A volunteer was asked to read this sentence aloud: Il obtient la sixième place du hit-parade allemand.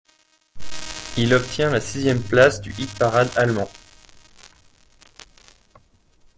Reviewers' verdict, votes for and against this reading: rejected, 0, 2